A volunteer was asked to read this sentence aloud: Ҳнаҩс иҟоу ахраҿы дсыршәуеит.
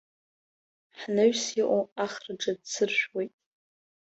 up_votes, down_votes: 1, 2